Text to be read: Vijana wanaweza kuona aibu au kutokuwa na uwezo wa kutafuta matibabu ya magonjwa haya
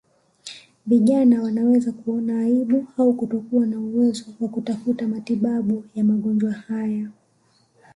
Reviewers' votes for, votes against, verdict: 2, 1, accepted